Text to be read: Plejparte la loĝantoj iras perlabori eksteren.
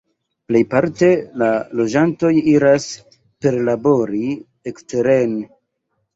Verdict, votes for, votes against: rejected, 0, 2